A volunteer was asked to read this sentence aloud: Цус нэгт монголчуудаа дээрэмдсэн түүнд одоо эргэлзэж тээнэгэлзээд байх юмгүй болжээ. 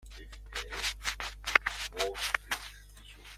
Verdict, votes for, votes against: rejected, 0, 2